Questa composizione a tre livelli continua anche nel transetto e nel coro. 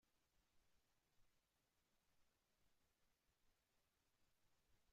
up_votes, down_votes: 0, 3